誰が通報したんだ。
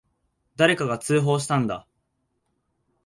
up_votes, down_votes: 0, 2